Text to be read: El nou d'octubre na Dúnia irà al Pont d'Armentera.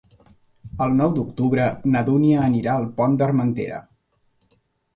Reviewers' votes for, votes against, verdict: 1, 2, rejected